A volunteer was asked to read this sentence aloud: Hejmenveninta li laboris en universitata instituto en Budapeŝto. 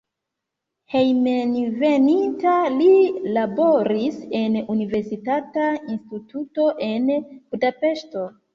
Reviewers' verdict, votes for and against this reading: accepted, 2, 0